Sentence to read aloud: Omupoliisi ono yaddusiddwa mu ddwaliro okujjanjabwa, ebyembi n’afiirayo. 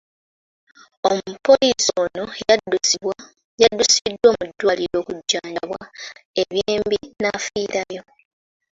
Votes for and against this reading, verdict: 0, 2, rejected